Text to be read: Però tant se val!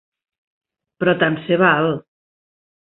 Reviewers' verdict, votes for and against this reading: accepted, 2, 0